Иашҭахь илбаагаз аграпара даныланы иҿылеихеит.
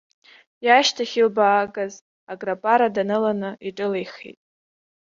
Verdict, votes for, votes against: accepted, 2, 0